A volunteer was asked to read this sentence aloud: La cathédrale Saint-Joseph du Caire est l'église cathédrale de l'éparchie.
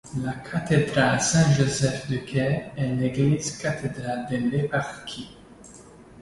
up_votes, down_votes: 2, 0